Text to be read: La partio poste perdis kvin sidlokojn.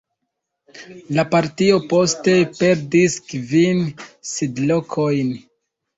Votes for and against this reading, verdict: 2, 1, accepted